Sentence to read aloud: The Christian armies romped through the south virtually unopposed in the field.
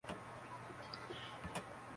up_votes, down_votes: 0, 2